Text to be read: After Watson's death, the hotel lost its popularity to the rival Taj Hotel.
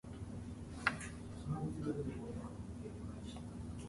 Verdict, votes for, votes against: rejected, 0, 2